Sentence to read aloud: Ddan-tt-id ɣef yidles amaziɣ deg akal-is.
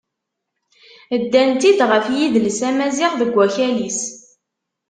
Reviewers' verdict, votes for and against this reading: accepted, 2, 0